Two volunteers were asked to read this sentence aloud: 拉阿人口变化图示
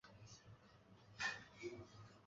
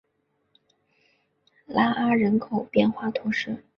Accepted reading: second